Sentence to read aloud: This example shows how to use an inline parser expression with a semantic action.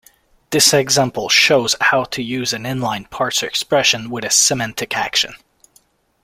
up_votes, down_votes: 2, 1